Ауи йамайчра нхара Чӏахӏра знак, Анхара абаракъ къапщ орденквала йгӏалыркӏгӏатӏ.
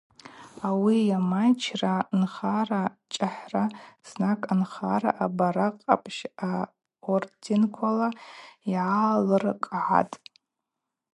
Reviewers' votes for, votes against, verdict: 4, 0, accepted